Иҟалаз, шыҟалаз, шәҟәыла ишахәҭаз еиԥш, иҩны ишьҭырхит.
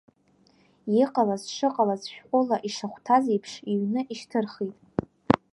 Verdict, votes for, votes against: accepted, 2, 0